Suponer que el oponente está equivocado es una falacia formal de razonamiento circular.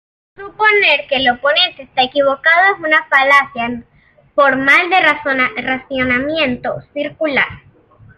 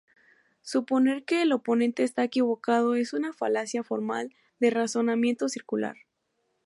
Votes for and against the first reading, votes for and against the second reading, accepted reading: 0, 2, 2, 0, second